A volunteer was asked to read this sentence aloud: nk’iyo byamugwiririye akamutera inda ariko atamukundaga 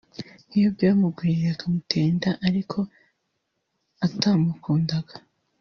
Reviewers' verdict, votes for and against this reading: rejected, 1, 2